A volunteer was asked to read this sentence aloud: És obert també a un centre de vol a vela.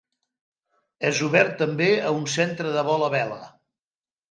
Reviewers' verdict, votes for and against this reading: accepted, 2, 0